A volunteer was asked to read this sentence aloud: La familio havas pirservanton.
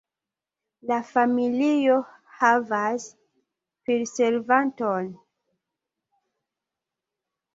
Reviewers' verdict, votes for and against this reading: rejected, 1, 2